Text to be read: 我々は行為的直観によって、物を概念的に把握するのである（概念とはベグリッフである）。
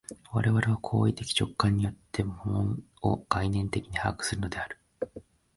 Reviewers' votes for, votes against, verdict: 1, 2, rejected